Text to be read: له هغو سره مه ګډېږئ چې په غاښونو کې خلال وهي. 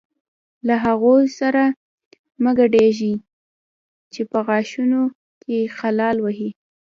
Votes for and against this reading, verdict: 2, 0, accepted